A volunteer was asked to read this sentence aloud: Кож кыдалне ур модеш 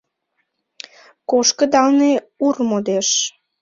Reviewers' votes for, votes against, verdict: 2, 0, accepted